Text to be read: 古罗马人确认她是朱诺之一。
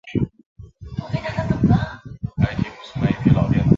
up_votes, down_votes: 0, 2